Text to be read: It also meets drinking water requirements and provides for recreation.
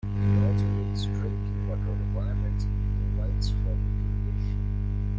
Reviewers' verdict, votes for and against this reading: rejected, 0, 2